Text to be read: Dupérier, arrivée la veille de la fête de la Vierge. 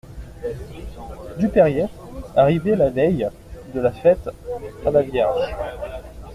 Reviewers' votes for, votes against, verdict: 0, 2, rejected